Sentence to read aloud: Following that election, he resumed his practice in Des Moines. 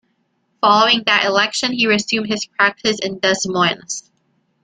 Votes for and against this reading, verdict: 2, 4, rejected